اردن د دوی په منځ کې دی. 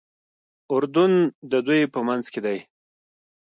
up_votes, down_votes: 3, 1